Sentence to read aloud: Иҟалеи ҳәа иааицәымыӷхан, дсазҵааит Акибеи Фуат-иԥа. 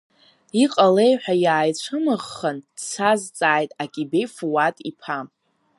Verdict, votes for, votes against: rejected, 1, 2